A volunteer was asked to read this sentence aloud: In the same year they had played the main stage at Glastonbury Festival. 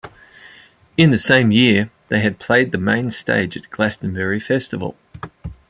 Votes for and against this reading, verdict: 2, 0, accepted